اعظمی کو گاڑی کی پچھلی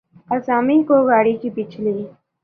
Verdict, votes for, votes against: accepted, 2, 0